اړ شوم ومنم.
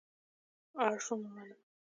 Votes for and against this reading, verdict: 1, 2, rejected